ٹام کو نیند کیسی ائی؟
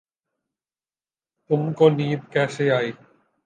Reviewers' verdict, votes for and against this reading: rejected, 1, 2